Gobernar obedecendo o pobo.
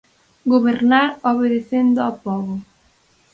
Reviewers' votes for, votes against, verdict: 0, 4, rejected